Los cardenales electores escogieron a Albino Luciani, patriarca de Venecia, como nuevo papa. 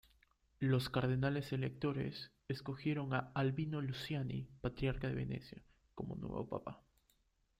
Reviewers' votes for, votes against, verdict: 0, 2, rejected